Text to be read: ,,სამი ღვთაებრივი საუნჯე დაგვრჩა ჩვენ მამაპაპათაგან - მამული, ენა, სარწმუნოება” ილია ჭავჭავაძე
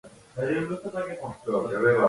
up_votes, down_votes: 0, 2